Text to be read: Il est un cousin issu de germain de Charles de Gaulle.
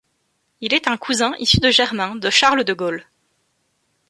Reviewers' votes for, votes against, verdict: 2, 0, accepted